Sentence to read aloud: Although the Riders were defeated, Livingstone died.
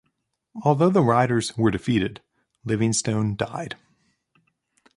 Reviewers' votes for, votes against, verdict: 2, 0, accepted